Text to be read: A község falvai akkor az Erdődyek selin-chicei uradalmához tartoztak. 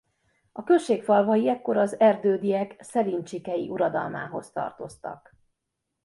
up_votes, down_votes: 1, 2